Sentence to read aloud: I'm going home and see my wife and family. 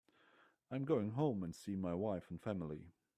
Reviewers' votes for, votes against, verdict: 2, 1, accepted